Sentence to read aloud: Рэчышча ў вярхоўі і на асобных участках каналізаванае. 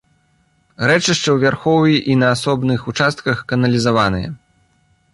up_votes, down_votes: 2, 0